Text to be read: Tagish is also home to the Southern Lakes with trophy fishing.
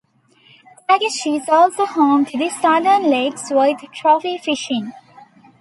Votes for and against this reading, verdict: 2, 0, accepted